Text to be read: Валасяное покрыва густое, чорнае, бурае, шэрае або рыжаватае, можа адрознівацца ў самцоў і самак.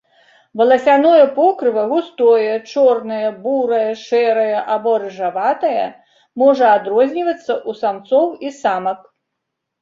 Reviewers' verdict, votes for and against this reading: accepted, 2, 0